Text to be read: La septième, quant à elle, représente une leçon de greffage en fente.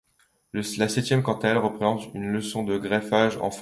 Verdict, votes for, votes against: rejected, 1, 2